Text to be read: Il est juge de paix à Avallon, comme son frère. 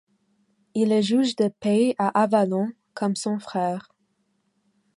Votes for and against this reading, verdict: 2, 1, accepted